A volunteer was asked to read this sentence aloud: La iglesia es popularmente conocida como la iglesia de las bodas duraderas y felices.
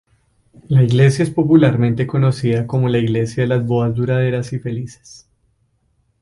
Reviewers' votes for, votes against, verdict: 2, 0, accepted